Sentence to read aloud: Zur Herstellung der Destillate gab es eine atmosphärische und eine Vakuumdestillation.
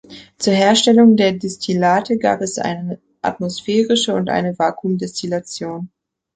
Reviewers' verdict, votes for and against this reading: accepted, 2, 0